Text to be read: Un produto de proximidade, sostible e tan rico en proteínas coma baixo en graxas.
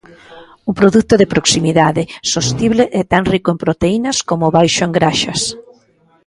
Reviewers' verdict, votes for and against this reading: rejected, 1, 2